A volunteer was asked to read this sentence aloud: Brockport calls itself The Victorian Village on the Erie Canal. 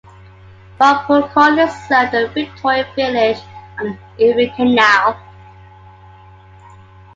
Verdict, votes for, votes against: rejected, 0, 2